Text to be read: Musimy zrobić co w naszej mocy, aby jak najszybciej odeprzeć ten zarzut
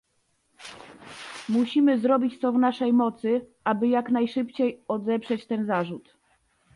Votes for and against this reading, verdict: 2, 0, accepted